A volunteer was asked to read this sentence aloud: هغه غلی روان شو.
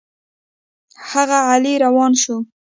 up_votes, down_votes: 2, 0